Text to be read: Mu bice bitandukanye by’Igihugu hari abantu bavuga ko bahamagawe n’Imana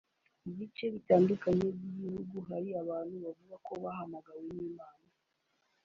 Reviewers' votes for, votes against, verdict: 3, 0, accepted